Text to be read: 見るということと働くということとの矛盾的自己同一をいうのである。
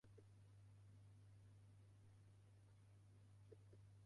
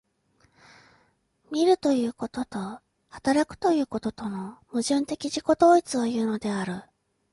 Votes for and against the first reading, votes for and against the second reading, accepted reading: 0, 2, 2, 1, second